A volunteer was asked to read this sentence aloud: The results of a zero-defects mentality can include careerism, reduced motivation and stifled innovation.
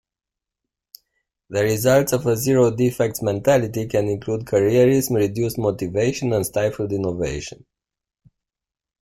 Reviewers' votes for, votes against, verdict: 1, 2, rejected